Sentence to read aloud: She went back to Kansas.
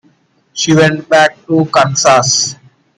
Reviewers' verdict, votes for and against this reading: accepted, 2, 0